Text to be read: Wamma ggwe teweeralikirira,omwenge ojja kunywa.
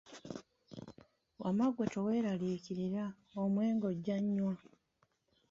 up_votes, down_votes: 0, 2